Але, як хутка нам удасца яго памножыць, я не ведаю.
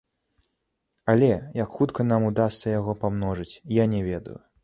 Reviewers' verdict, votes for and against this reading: rejected, 1, 2